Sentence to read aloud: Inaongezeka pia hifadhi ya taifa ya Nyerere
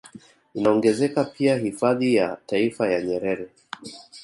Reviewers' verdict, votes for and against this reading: rejected, 1, 2